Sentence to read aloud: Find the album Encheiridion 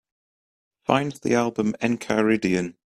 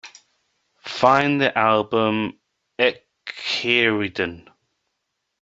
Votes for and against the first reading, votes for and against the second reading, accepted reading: 2, 0, 0, 2, first